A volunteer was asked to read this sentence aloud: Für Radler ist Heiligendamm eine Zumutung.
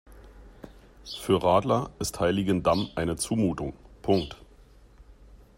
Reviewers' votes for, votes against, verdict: 0, 2, rejected